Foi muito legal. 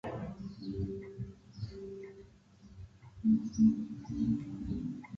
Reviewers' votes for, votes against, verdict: 0, 2, rejected